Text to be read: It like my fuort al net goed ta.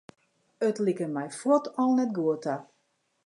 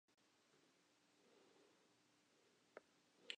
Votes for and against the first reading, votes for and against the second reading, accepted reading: 2, 0, 0, 2, first